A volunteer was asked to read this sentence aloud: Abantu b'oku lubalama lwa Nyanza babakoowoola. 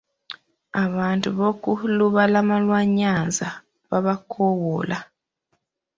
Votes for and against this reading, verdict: 1, 2, rejected